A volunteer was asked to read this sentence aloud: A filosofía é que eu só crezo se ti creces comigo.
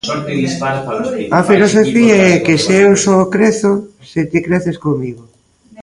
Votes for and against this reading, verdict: 0, 2, rejected